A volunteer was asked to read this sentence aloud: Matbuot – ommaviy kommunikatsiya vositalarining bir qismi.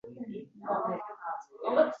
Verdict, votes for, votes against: rejected, 0, 2